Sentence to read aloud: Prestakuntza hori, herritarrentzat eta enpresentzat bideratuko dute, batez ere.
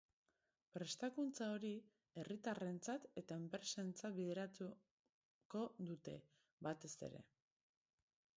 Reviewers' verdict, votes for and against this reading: rejected, 1, 2